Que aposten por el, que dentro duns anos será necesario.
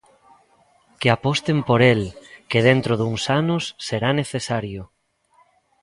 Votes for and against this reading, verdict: 2, 0, accepted